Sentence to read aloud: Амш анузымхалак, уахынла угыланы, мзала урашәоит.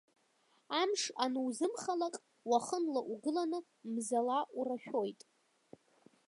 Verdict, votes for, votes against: accepted, 3, 1